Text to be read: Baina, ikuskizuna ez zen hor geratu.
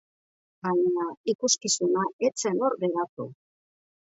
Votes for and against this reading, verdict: 1, 2, rejected